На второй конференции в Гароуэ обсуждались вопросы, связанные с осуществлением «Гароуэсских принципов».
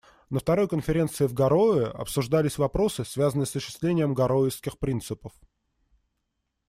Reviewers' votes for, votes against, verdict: 2, 0, accepted